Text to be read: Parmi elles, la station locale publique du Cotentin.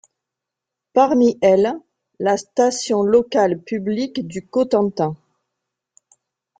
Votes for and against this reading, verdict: 2, 1, accepted